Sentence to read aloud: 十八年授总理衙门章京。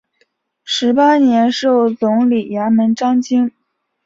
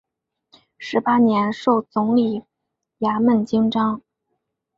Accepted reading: first